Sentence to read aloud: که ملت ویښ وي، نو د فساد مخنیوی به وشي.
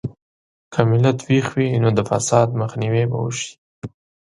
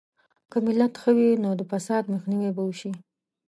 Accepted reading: first